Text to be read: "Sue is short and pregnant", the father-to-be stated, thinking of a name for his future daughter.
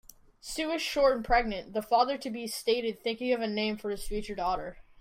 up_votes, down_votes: 2, 0